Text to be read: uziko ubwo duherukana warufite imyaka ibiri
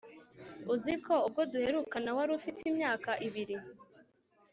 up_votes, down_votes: 3, 0